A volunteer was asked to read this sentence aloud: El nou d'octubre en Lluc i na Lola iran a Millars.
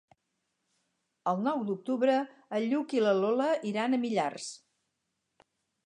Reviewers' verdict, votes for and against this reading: rejected, 2, 2